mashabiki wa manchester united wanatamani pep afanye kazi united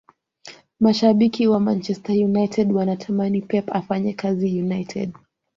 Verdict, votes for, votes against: accepted, 2, 0